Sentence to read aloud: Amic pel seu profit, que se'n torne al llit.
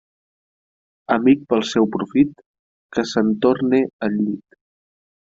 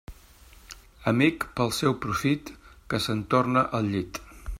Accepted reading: first